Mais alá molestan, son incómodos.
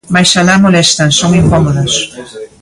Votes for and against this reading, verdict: 2, 1, accepted